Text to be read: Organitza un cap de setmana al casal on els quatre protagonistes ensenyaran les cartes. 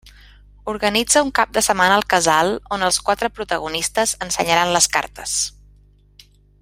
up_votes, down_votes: 2, 0